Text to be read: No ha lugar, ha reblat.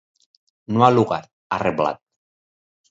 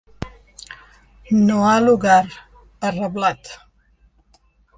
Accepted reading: second